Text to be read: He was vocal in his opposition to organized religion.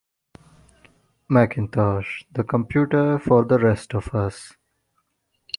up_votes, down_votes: 0, 2